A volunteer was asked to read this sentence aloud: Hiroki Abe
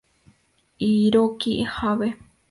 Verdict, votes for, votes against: accepted, 2, 0